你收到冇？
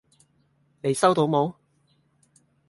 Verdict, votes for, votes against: rejected, 0, 2